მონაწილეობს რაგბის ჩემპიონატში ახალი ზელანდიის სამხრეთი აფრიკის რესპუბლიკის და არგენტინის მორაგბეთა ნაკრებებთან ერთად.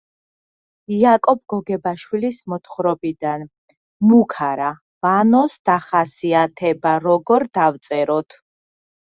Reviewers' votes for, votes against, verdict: 0, 2, rejected